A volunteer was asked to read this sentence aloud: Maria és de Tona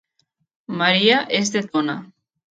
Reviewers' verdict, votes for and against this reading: accepted, 3, 0